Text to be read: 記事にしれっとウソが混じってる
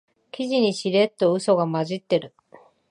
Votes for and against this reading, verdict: 3, 0, accepted